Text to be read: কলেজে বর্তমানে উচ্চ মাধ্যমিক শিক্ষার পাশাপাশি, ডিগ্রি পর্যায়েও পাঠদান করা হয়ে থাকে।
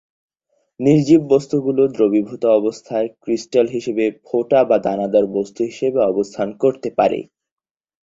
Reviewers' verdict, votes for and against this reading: rejected, 2, 2